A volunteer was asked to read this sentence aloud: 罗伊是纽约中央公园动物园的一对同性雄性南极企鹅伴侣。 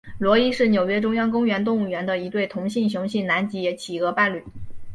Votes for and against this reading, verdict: 3, 0, accepted